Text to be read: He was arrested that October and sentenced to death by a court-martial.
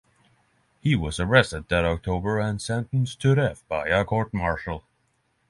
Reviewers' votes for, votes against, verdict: 6, 0, accepted